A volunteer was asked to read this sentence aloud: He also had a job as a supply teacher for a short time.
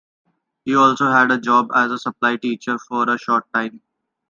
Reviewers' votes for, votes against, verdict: 2, 0, accepted